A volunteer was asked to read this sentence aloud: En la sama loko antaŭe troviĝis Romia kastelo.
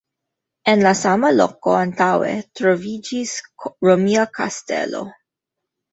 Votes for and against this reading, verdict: 2, 0, accepted